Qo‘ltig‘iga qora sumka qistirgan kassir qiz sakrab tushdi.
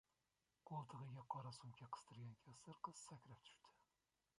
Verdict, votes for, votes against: rejected, 0, 2